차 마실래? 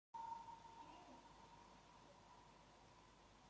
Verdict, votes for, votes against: rejected, 0, 2